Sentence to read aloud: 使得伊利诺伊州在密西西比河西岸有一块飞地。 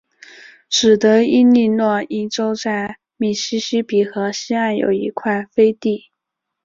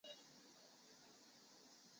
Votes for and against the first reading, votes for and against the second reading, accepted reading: 4, 0, 0, 4, first